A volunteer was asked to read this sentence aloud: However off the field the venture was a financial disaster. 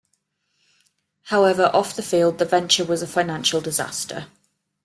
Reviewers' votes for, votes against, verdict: 2, 0, accepted